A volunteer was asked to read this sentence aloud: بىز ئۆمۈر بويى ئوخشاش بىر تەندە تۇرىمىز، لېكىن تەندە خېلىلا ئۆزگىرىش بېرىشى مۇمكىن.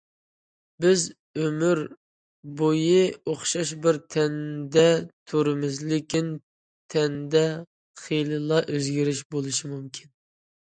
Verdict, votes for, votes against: rejected, 0, 2